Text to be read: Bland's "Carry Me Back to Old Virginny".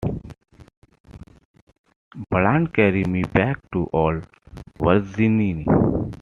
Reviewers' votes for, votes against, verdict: 1, 2, rejected